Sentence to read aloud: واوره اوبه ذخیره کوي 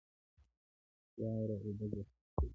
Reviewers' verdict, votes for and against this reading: rejected, 0, 2